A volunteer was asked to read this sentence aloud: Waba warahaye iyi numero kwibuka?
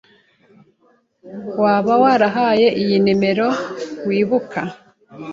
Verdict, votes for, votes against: rejected, 1, 2